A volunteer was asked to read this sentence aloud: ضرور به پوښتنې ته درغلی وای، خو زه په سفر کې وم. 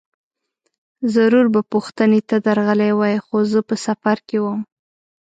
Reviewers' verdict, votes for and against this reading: accepted, 2, 0